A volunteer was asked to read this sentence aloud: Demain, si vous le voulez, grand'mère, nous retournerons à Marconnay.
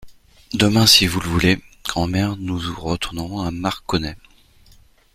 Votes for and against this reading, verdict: 1, 2, rejected